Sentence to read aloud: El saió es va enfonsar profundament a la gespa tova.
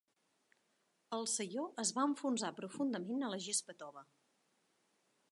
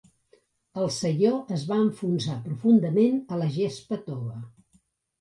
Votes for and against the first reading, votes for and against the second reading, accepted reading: 1, 2, 2, 0, second